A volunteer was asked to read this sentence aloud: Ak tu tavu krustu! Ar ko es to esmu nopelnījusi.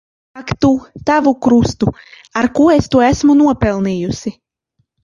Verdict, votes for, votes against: rejected, 1, 2